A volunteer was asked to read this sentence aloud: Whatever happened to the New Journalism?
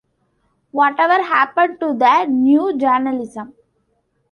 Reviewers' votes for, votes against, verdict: 2, 1, accepted